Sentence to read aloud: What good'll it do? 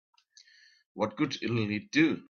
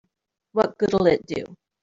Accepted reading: second